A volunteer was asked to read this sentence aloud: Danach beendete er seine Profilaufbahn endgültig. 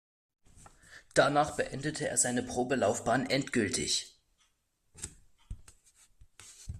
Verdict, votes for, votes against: rejected, 0, 2